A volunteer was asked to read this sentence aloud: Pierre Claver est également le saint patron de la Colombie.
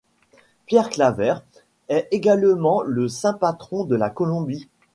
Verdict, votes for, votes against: accepted, 2, 0